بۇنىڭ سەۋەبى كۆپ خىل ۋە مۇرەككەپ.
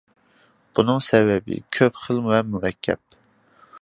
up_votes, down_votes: 2, 0